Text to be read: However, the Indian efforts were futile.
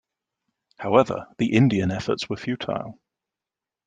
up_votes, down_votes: 2, 0